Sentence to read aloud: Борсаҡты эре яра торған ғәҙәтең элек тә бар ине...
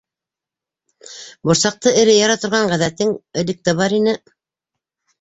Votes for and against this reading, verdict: 2, 0, accepted